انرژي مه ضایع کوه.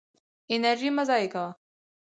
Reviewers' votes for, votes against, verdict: 4, 0, accepted